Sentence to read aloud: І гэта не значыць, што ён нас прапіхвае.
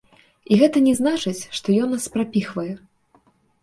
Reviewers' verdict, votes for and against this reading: accepted, 2, 0